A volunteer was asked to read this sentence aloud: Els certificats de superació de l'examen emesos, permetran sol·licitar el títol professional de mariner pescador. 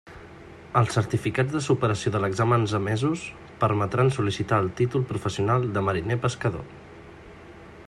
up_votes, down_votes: 0, 2